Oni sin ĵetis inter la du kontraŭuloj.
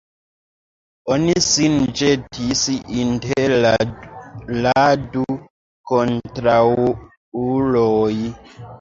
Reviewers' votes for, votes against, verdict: 0, 2, rejected